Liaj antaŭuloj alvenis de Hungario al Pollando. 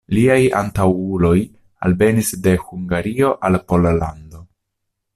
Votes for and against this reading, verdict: 2, 1, accepted